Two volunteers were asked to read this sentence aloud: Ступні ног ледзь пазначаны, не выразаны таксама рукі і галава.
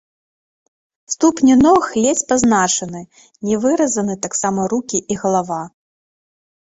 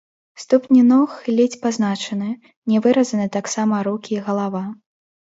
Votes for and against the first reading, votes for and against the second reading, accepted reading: 3, 0, 1, 2, first